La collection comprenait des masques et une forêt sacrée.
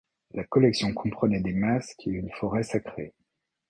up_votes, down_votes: 2, 0